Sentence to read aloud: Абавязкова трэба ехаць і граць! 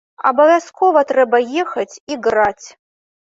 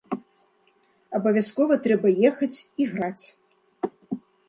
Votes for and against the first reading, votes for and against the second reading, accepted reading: 1, 2, 2, 0, second